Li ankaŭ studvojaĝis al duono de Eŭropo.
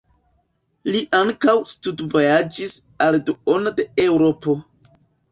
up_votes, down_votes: 2, 1